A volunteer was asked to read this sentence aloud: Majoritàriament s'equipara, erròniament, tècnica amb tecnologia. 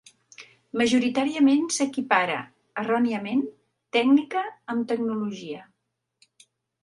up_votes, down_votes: 2, 0